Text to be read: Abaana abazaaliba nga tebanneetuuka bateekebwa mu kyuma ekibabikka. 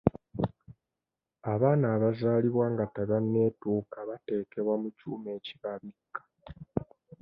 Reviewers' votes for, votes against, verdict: 1, 2, rejected